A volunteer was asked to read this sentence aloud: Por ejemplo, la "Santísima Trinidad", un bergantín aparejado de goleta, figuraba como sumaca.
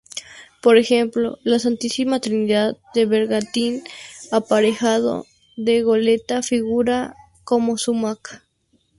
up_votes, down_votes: 0, 2